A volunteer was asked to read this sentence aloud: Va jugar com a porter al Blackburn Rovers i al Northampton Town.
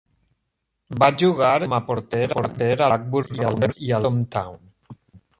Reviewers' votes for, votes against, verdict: 0, 2, rejected